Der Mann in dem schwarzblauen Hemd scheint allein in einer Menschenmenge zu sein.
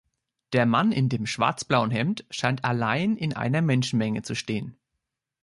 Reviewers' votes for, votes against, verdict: 1, 2, rejected